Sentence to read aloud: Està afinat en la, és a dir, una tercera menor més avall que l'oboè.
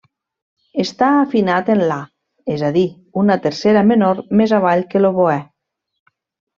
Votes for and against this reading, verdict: 3, 0, accepted